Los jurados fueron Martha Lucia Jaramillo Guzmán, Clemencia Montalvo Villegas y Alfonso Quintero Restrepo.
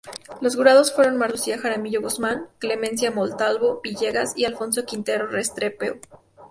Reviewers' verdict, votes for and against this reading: rejected, 0, 2